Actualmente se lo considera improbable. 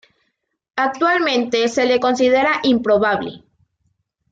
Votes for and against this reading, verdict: 1, 2, rejected